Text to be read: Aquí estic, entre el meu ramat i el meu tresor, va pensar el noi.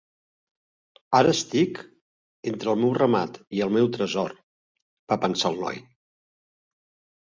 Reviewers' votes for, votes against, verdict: 1, 2, rejected